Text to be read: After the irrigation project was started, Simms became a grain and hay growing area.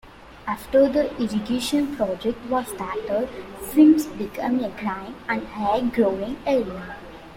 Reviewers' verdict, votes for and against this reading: rejected, 0, 2